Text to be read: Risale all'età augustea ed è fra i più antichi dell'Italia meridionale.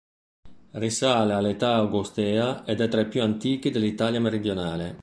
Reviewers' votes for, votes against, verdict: 0, 2, rejected